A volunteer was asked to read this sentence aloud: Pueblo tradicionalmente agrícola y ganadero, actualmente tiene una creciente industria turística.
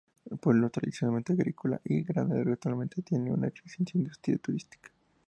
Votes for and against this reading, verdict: 2, 0, accepted